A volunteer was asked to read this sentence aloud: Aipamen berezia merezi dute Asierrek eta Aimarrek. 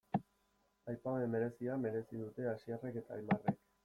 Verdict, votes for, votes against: accepted, 2, 0